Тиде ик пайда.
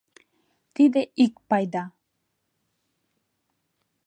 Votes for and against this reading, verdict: 2, 0, accepted